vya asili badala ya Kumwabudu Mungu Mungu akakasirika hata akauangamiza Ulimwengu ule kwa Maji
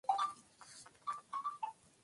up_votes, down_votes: 0, 2